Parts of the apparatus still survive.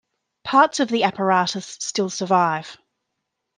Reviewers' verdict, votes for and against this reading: accepted, 2, 0